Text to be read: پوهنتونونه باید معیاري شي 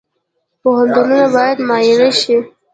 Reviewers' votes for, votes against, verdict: 1, 2, rejected